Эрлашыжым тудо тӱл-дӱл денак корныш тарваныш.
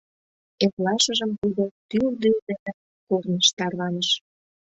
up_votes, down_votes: 0, 2